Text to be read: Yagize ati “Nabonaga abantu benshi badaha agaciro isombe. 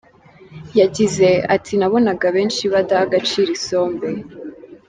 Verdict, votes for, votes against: rejected, 0, 2